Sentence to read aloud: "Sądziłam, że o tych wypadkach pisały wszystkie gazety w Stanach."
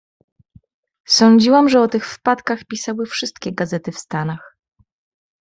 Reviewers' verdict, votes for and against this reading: rejected, 1, 2